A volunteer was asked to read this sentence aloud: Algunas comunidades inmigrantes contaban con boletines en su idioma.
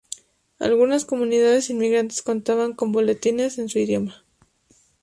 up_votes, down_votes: 2, 0